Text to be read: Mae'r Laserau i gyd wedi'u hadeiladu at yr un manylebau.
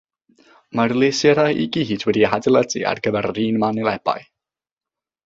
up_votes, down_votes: 0, 3